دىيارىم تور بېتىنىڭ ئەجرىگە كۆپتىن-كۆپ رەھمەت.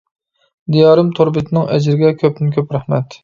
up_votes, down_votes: 2, 0